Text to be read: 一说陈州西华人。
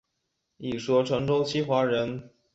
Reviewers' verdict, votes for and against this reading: accepted, 4, 0